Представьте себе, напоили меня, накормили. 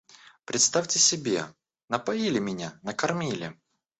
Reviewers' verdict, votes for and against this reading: rejected, 1, 2